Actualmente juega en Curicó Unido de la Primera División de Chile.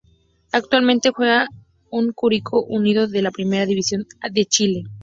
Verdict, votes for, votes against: rejected, 0, 2